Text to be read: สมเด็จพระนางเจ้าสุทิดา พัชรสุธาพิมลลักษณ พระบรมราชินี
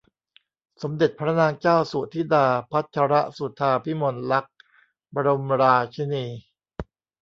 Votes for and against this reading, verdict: 0, 2, rejected